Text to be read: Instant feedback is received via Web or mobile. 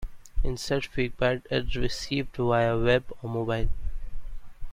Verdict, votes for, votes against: accepted, 2, 1